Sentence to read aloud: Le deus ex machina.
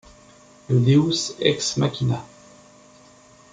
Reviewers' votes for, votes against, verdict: 2, 0, accepted